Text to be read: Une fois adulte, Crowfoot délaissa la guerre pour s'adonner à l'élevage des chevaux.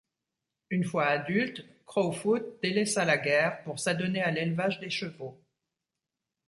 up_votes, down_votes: 2, 0